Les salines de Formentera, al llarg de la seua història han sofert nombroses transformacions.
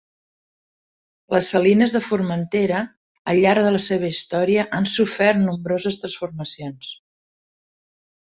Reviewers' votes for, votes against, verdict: 3, 0, accepted